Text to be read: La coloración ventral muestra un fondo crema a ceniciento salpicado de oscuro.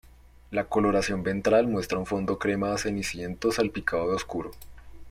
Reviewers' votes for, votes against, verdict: 2, 0, accepted